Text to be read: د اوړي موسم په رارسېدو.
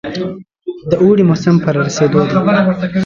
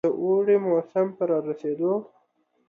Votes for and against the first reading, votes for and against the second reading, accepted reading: 1, 2, 2, 0, second